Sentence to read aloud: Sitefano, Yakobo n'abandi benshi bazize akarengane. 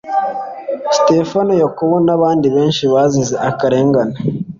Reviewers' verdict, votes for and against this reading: accepted, 2, 0